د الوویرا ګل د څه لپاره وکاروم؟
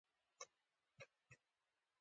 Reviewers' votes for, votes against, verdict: 1, 2, rejected